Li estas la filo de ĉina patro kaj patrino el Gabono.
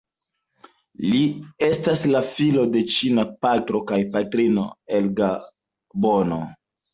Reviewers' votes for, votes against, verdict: 2, 0, accepted